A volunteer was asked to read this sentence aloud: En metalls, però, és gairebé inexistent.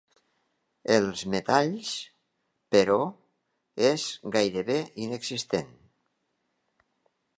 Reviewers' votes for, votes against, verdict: 0, 2, rejected